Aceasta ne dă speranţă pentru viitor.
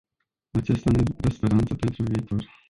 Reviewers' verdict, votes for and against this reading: rejected, 0, 2